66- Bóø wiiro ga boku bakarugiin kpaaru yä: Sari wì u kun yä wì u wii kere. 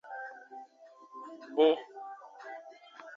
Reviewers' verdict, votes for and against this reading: rejected, 0, 2